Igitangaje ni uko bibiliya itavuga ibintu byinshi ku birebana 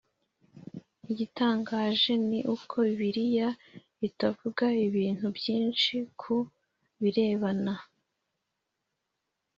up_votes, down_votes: 2, 0